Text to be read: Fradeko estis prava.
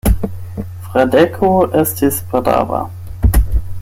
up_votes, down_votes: 4, 8